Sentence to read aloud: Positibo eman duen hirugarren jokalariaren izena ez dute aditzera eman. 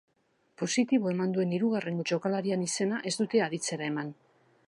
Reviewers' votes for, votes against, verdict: 1, 2, rejected